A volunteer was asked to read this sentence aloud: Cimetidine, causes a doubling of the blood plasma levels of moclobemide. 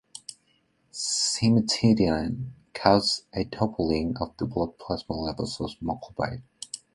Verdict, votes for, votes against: accepted, 2, 1